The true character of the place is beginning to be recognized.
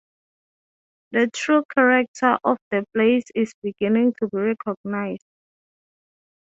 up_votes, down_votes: 3, 0